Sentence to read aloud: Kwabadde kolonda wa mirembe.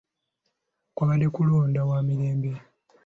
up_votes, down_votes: 2, 0